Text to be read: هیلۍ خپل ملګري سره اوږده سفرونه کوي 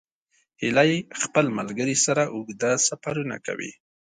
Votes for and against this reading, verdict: 2, 0, accepted